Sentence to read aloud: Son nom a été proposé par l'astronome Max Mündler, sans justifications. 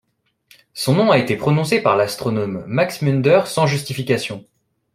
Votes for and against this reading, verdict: 2, 1, accepted